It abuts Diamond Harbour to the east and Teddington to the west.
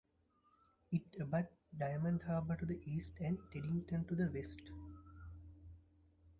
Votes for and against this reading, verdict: 1, 2, rejected